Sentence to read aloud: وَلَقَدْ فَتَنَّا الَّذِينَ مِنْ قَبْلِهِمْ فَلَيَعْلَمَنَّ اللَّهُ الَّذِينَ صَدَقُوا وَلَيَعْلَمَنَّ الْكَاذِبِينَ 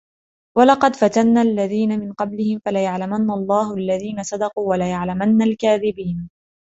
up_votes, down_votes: 3, 0